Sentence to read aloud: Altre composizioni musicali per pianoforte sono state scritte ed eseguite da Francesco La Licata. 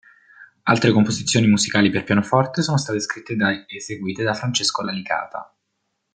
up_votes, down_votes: 0, 2